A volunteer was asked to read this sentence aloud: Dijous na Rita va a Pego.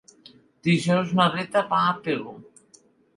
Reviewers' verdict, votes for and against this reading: accepted, 2, 0